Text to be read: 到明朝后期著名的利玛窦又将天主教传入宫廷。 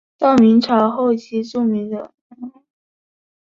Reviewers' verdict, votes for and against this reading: rejected, 0, 2